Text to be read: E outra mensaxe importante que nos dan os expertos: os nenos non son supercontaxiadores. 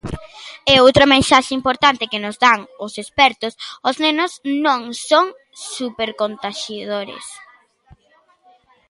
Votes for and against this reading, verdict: 0, 2, rejected